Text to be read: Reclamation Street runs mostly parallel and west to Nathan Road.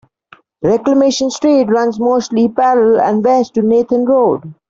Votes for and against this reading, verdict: 2, 0, accepted